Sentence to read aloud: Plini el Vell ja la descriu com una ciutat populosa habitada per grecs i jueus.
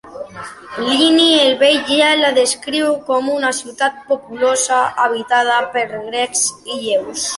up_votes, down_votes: 0, 2